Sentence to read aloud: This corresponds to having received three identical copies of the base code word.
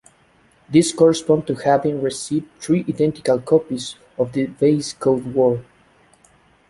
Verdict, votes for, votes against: accepted, 2, 1